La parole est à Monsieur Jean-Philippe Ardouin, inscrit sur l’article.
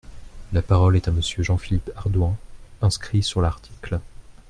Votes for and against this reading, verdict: 2, 0, accepted